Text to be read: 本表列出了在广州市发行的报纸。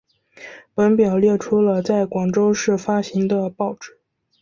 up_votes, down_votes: 3, 0